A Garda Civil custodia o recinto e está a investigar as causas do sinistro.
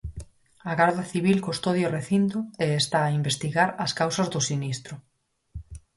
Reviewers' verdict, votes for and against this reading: accepted, 4, 0